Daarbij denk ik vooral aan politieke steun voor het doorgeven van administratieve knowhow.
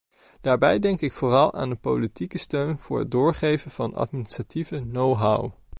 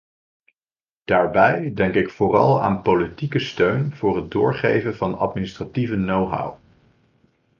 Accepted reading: second